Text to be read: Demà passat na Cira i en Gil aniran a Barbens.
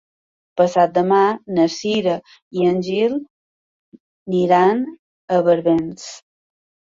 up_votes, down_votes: 1, 2